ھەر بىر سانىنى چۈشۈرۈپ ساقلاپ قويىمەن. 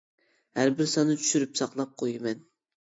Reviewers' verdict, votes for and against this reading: rejected, 0, 2